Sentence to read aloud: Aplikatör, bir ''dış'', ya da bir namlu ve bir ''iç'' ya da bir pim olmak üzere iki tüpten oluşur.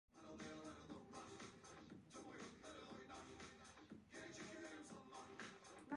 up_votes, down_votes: 0, 2